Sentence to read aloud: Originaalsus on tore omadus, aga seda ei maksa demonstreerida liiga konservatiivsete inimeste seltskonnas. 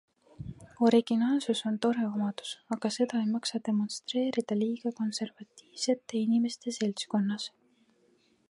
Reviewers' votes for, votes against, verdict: 2, 0, accepted